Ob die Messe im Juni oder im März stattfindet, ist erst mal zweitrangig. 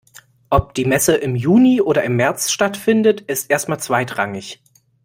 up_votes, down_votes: 2, 0